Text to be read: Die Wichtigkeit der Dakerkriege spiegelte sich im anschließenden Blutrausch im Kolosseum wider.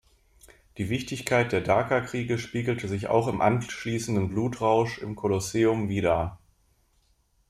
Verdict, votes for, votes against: rejected, 0, 2